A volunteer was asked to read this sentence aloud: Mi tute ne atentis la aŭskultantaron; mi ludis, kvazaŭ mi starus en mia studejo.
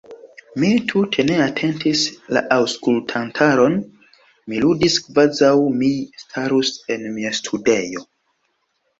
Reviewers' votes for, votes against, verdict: 2, 0, accepted